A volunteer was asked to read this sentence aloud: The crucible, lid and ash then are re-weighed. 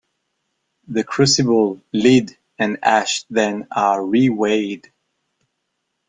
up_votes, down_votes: 1, 2